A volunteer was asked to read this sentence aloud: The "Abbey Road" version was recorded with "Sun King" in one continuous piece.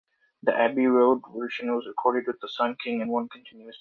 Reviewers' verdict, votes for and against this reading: rejected, 1, 2